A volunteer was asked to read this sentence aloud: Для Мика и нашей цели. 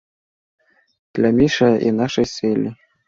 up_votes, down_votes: 0, 2